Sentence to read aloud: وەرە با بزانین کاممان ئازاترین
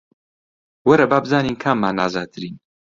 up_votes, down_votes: 2, 0